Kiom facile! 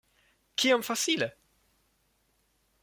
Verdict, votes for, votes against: rejected, 0, 2